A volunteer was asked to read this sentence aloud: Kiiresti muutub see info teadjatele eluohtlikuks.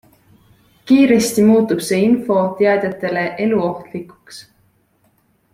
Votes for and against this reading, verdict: 2, 0, accepted